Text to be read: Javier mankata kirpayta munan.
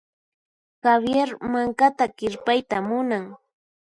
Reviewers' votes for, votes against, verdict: 4, 0, accepted